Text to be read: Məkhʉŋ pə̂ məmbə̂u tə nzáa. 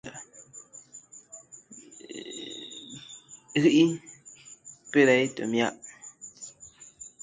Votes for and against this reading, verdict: 0, 2, rejected